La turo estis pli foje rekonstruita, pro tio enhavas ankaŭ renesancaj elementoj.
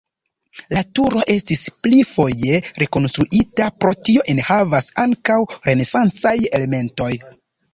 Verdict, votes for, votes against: accepted, 2, 0